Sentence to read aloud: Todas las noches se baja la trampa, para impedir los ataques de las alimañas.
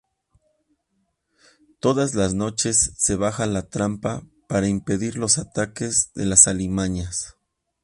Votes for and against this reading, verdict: 2, 0, accepted